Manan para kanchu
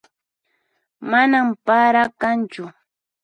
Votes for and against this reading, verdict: 4, 0, accepted